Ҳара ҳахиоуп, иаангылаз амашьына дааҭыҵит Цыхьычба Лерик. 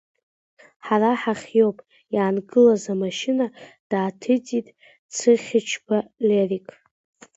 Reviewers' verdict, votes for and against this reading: accepted, 2, 0